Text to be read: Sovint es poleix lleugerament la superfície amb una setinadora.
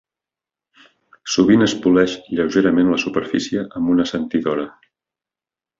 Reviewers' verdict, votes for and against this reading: rejected, 1, 3